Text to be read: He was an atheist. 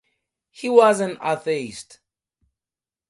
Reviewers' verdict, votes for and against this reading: accepted, 2, 0